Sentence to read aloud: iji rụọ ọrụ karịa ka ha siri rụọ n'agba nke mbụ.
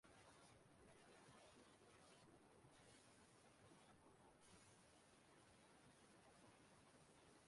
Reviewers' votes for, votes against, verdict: 0, 2, rejected